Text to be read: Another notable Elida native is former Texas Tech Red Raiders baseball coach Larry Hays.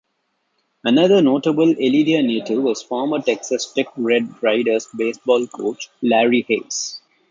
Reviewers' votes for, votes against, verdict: 1, 2, rejected